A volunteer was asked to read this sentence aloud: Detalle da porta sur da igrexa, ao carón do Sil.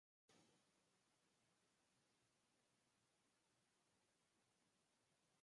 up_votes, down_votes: 0, 2